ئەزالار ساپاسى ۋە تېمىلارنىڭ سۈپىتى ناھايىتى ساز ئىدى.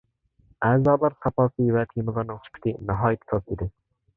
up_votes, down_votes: 0, 2